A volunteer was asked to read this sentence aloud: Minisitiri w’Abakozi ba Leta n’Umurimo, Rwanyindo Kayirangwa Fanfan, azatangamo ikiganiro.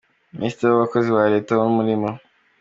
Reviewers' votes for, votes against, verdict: 0, 2, rejected